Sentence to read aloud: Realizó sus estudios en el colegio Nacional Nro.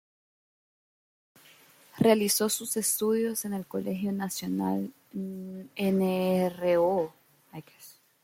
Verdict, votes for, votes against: rejected, 1, 2